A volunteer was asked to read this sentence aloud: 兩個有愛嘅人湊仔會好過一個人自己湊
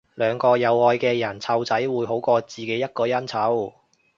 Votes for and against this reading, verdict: 1, 2, rejected